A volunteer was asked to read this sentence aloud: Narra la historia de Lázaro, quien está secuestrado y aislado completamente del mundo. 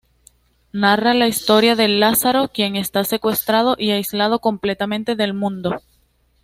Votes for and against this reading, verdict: 2, 0, accepted